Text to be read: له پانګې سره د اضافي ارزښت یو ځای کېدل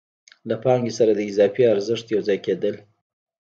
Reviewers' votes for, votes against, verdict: 1, 2, rejected